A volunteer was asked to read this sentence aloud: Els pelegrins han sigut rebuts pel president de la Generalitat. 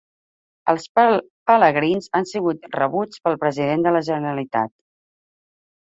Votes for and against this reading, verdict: 0, 2, rejected